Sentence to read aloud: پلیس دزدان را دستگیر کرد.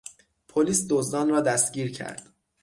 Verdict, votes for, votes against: accepted, 6, 0